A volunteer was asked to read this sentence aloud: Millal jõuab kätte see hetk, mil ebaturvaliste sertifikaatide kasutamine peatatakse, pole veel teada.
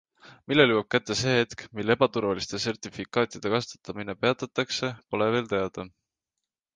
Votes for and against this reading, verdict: 2, 1, accepted